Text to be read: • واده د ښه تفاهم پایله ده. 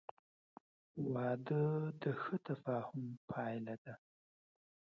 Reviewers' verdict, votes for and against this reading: rejected, 1, 2